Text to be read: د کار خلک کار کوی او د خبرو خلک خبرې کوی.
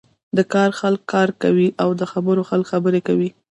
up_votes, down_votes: 0, 2